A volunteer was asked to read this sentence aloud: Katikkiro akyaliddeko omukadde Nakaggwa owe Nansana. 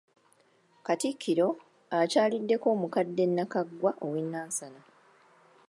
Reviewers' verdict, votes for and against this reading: accepted, 2, 0